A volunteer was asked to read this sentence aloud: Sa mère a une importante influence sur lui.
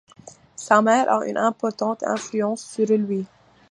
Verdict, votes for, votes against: accepted, 2, 1